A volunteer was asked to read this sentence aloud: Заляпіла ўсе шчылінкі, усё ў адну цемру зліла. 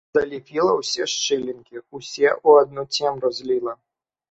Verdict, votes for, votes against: rejected, 1, 2